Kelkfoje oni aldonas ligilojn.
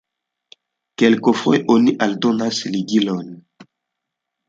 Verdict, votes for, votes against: rejected, 0, 2